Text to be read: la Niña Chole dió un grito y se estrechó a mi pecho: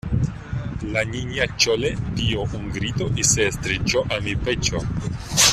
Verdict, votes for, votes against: rejected, 0, 2